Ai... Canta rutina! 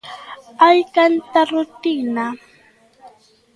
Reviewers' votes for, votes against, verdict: 2, 1, accepted